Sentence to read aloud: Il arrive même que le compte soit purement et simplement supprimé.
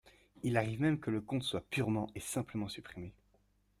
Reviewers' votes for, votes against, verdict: 2, 0, accepted